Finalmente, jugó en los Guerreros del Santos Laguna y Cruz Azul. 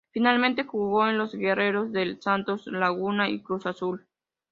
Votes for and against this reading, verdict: 2, 0, accepted